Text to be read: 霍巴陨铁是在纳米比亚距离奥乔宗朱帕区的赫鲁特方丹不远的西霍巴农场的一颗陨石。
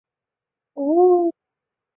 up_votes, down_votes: 0, 2